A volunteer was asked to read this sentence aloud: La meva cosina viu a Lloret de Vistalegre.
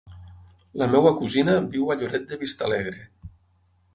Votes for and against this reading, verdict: 3, 6, rejected